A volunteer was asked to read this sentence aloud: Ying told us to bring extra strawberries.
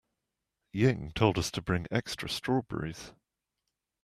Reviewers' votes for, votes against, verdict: 2, 0, accepted